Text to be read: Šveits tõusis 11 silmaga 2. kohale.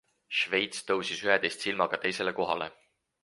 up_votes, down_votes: 0, 2